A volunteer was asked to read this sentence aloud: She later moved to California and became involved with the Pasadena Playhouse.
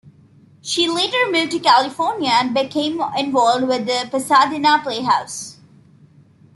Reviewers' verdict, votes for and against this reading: accepted, 2, 0